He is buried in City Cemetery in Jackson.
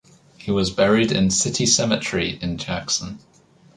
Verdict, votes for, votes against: rejected, 1, 2